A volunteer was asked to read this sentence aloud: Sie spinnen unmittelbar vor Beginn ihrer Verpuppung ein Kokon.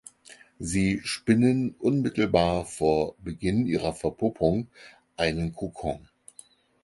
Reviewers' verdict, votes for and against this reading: accepted, 4, 2